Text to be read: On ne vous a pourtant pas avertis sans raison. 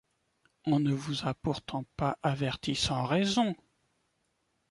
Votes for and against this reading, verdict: 2, 0, accepted